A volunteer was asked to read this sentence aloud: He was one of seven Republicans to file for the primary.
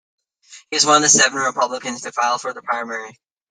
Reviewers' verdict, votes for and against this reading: rejected, 1, 2